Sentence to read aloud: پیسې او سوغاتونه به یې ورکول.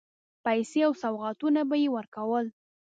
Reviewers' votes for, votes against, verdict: 2, 0, accepted